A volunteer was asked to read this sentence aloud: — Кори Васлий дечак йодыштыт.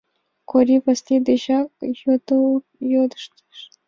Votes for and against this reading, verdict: 1, 2, rejected